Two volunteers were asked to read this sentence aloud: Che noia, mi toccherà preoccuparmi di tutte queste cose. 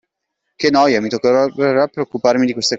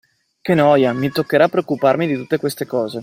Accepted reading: second